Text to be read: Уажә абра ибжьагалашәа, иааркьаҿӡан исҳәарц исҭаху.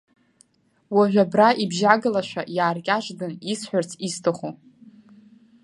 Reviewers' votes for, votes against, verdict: 2, 0, accepted